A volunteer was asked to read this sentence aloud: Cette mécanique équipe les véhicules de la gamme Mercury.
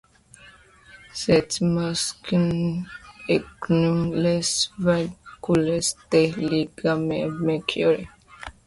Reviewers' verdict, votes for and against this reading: rejected, 1, 2